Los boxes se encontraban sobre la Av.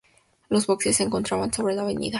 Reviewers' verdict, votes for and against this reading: accepted, 2, 0